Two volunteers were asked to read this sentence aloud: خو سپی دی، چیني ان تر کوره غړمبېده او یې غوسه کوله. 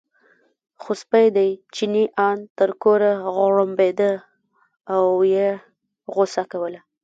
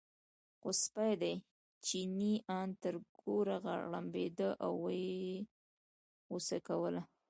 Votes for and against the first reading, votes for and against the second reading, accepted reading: 0, 2, 2, 1, second